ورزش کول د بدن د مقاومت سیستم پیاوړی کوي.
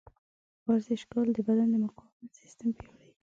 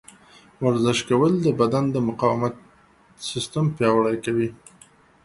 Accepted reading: second